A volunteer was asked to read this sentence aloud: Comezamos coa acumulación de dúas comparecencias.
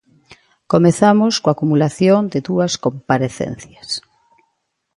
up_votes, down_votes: 2, 0